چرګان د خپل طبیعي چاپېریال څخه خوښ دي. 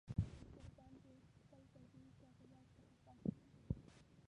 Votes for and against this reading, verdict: 0, 2, rejected